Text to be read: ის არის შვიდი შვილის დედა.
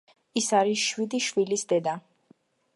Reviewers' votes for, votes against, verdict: 2, 0, accepted